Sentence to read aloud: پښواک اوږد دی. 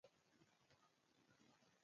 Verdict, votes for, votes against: rejected, 0, 2